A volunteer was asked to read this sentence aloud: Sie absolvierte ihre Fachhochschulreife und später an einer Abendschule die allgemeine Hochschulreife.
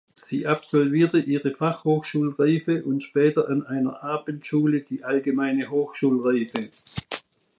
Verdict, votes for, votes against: accepted, 2, 0